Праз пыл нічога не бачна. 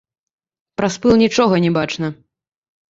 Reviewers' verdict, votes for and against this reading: rejected, 0, 2